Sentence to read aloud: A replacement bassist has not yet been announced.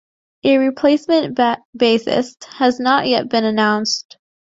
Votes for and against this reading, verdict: 2, 1, accepted